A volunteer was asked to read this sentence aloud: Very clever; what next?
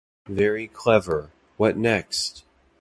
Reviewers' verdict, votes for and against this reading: accepted, 2, 0